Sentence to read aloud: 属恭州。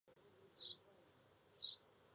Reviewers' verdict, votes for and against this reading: rejected, 1, 2